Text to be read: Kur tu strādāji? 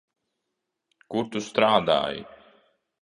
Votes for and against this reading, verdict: 0, 2, rejected